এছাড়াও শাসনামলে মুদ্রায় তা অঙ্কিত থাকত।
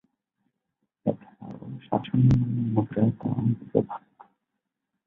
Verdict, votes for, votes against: rejected, 0, 3